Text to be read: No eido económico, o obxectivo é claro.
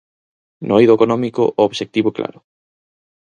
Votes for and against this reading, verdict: 4, 0, accepted